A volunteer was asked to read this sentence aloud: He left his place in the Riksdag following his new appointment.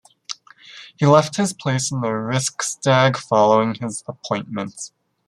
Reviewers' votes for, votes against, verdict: 1, 2, rejected